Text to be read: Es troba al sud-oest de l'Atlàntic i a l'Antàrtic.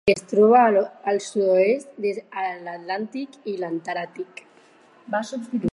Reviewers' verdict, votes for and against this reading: rejected, 0, 6